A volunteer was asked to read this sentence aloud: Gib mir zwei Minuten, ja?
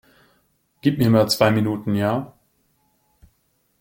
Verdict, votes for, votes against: rejected, 0, 2